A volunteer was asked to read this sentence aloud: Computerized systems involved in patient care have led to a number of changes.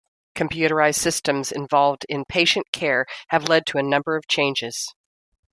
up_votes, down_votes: 2, 0